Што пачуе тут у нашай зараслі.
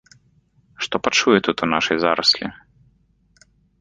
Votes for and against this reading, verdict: 2, 0, accepted